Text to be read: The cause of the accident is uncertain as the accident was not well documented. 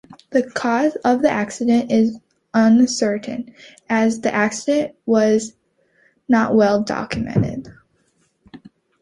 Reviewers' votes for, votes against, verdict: 2, 0, accepted